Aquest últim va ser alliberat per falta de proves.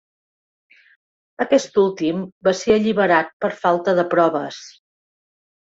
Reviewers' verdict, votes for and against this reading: accepted, 3, 1